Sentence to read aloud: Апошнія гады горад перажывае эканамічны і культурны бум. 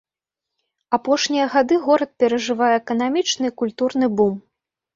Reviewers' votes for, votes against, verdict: 3, 0, accepted